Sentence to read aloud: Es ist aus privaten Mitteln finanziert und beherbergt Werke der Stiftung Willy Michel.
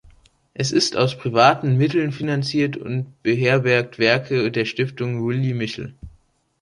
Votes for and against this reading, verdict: 3, 0, accepted